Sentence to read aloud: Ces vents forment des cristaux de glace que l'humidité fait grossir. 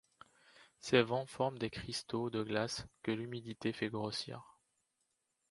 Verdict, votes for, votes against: accepted, 2, 0